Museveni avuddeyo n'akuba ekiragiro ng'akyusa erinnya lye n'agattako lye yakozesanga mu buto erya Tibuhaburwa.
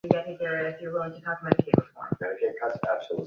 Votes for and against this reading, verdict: 0, 2, rejected